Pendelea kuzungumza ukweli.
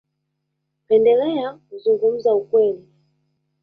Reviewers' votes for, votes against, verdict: 2, 0, accepted